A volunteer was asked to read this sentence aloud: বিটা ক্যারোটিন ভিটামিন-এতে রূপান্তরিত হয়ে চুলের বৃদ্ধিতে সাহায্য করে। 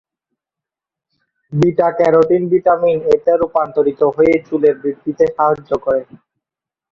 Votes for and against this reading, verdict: 0, 2, rejected